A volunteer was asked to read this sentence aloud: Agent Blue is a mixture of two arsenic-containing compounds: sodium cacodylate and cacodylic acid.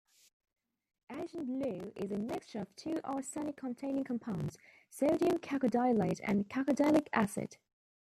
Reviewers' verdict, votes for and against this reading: rejected, 1, 2